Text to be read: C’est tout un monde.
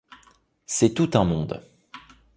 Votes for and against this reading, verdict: 2, 0, accepted